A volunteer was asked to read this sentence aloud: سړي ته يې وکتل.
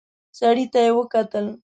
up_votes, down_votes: 2, 0